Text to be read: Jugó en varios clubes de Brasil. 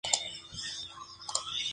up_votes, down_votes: 2, 0